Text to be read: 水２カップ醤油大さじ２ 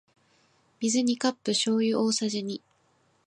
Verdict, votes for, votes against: rejected, 0, 2